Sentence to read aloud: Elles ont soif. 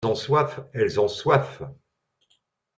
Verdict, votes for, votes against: rejected, 0, 2